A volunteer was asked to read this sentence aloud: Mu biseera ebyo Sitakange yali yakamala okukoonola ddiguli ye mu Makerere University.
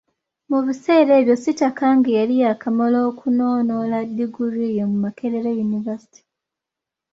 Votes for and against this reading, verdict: 0, 2, rejected